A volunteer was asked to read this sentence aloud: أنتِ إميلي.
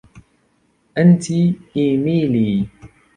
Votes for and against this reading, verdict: 1, 2, rejected